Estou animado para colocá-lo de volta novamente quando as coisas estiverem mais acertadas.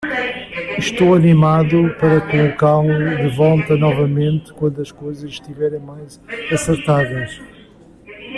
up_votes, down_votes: 1, 2